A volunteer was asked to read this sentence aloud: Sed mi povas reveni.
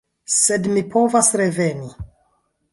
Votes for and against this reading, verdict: 1, 2, rejected